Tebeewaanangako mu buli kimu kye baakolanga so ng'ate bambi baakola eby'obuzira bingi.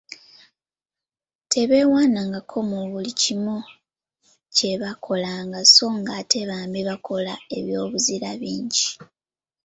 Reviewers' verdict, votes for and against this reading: rejected, 1, 2